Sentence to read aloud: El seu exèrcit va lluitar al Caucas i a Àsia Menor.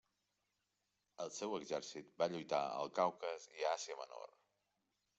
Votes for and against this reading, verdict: 2, 1, accepted